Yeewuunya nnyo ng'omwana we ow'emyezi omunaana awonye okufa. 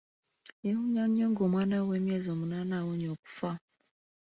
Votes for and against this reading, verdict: 2, 1, accepted